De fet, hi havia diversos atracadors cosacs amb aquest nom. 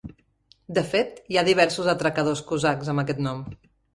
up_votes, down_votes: 0, 2